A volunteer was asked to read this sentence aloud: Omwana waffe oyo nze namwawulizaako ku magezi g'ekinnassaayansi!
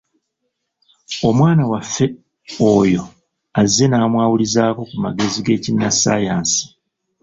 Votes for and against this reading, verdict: 1, 2, rejected